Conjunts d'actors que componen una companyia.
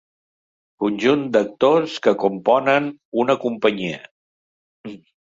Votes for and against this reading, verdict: 0, 2, rejected